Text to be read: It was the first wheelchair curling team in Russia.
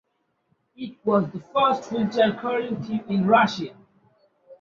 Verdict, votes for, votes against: accepted, 2, 0